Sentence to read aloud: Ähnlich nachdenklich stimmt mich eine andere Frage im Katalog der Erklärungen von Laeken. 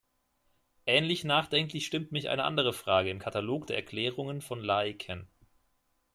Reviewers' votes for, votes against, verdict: 2, 0, accepted